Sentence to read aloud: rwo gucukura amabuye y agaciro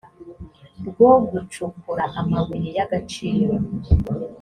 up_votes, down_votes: 2, 0